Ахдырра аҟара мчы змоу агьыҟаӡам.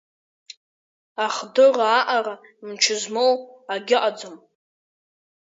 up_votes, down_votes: 0, 2